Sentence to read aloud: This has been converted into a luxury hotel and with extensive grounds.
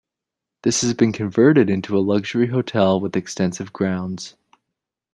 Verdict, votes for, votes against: rejected, 1, 2